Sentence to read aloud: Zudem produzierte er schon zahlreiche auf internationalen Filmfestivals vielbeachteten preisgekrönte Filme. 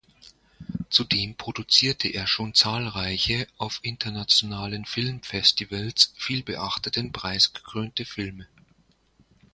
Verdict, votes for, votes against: accepted, 2, 0